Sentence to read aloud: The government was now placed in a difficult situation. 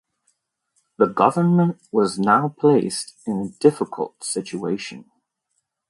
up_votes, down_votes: 2, 3